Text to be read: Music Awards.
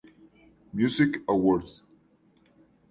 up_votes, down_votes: 4, 0